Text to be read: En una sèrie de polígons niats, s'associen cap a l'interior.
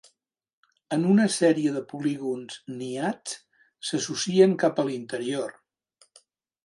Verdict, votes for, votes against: accepted, 4, 0